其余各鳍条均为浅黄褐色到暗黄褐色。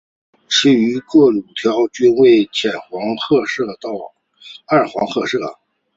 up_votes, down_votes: 0, 2